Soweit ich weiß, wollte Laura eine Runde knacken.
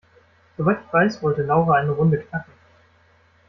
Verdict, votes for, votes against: accepted, 2, 0